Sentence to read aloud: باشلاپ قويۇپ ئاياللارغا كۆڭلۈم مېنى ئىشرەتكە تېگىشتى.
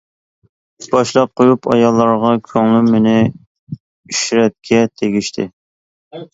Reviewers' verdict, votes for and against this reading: accepted, 2, 0